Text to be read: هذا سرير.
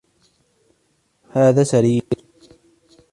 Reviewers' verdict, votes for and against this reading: accepted, 2, 0